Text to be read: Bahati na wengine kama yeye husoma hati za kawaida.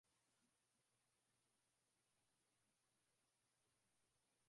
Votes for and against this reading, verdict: 0, 2, rejected